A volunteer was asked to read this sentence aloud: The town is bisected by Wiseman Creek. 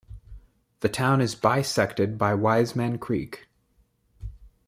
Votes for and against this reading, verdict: 2, 0, accepted